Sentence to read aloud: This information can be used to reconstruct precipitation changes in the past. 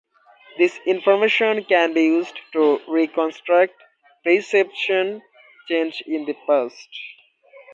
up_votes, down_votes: 0, 2